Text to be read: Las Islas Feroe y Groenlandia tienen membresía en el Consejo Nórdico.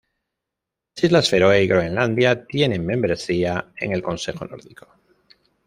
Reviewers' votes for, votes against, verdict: 1, 2, rejected